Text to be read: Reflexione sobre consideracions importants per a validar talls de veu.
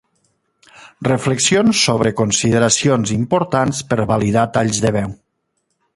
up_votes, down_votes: 1, 2